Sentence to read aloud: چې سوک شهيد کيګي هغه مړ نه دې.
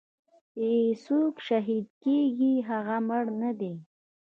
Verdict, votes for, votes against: accepted, 2, 1